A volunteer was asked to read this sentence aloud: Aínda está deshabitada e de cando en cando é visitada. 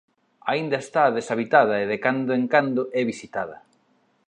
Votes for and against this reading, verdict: 2, 0, accepted